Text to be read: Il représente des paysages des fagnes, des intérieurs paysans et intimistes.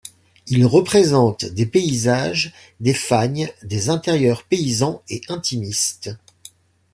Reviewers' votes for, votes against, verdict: 2, 0, accepted